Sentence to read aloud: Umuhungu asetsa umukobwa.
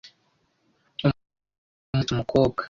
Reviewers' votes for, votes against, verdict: 0, 2, rejected